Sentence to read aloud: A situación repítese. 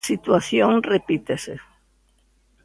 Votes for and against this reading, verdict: 0, 2, rejected